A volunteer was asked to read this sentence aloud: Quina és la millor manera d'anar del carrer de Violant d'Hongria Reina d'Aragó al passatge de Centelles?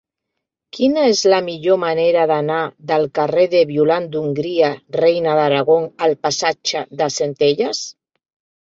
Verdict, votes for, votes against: accepted, 2, 0